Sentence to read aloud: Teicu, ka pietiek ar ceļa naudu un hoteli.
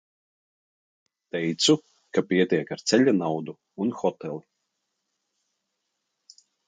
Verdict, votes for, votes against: accepted, 2, 0